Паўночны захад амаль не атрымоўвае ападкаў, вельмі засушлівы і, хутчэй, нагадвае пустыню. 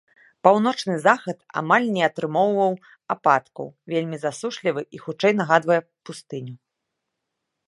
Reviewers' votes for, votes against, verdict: 0, 2, rejected